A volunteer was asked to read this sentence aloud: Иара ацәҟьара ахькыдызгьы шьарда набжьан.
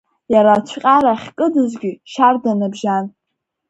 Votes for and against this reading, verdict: 2, 0, accepted